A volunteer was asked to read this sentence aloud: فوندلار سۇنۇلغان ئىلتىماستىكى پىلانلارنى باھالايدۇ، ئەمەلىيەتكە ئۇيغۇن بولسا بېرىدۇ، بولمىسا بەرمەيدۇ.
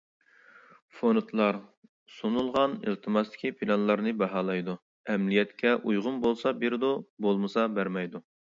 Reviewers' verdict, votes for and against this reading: accepted, 2, 0